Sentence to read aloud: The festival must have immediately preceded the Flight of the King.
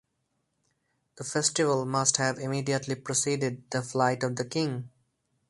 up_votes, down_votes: 4, 0